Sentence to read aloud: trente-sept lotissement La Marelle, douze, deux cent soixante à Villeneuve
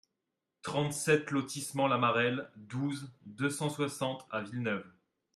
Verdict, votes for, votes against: accepted, 2, 0